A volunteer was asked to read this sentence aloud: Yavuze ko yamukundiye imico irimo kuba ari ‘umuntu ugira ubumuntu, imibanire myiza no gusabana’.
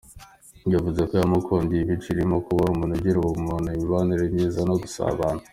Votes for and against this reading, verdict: 2, 0, accepted